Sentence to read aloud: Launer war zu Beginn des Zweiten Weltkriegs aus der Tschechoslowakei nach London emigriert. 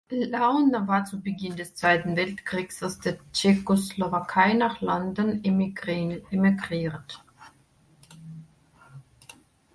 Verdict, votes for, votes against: rejected, 0, 2